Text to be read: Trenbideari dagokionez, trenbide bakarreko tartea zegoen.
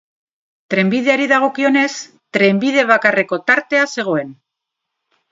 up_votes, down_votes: 0, 2